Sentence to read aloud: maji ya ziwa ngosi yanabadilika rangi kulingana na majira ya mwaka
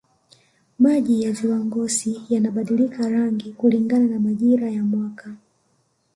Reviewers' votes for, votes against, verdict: 0, 2, rejected